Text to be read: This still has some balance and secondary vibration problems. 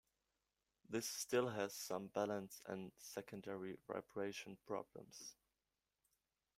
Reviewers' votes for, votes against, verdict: 1, 2, rejected